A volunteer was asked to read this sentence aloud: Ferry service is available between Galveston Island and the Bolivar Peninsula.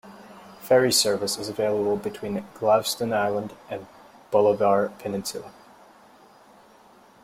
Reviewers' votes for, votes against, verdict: 0, 2, rejected